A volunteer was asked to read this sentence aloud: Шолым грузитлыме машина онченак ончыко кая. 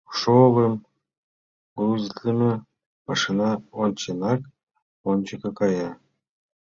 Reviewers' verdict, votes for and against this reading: accepted, 2, 1